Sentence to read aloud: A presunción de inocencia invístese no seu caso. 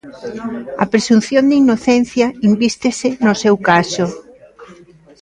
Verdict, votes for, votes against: rejected, 1, 2